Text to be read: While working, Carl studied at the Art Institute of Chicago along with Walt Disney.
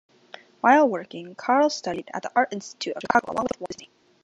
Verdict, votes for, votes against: rejected, 1, 2